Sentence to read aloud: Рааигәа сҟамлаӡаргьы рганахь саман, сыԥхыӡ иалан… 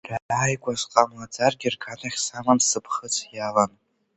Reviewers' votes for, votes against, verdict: 1, 2, rejected